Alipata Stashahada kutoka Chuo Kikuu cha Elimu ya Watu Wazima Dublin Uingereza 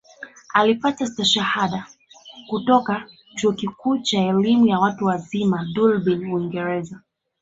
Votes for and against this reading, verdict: 1, 2, rejected